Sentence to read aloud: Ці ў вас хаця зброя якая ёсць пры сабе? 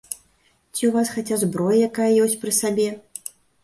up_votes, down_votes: 2, 0